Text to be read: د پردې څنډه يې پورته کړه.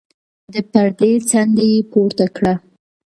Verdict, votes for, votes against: rejected, 1, 2